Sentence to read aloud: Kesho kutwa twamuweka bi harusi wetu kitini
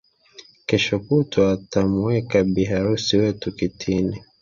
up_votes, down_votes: 4, 0